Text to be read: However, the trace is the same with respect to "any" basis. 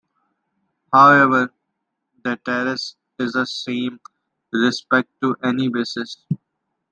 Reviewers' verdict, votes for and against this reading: rejected, 1, 2